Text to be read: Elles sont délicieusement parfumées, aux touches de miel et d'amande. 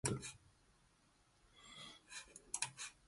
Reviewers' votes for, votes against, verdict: 0, 2, rejected